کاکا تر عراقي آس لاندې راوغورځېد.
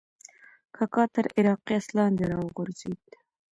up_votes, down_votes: 2, 1